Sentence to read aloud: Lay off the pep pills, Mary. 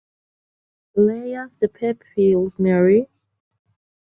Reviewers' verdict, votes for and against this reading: rejected, 1, 2